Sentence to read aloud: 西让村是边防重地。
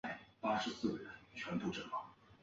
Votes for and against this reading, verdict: 4, 1, accepted